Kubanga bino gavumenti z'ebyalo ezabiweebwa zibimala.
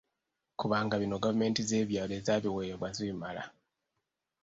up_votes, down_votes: 2, 1